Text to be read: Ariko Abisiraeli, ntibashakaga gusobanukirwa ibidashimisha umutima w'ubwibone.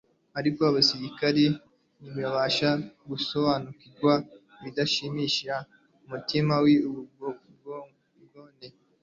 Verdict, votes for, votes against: rejected, 0, 2